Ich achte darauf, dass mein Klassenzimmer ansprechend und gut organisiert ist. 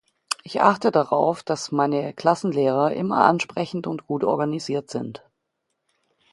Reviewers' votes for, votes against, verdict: 0, 2, rejected